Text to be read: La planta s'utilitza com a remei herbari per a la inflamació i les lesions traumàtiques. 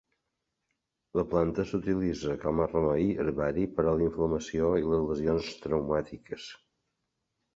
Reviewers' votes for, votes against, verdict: 1, 3, rejected